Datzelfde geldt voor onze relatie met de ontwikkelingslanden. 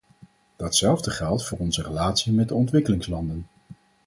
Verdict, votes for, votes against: accepted, 4, 0